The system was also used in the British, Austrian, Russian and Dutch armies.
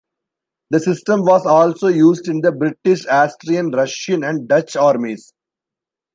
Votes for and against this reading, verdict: 2, 1, accepted